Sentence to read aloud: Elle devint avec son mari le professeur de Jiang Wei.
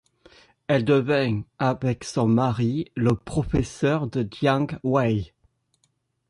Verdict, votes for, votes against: rejected, 1, 2